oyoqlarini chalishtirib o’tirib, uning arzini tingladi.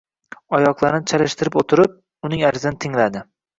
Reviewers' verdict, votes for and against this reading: rejected, 1, 2